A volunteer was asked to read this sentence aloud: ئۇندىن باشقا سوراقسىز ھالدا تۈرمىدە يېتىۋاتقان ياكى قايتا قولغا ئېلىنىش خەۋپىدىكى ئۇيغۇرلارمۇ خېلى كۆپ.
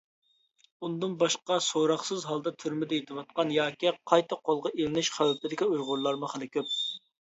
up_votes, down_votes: 2, 0